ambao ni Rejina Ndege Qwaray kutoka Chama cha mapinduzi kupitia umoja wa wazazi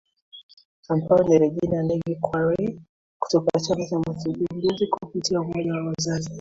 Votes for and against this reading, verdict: 1, 2, rejected